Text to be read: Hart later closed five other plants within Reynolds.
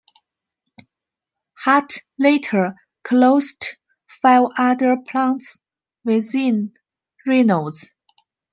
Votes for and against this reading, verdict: 4, 3, accepted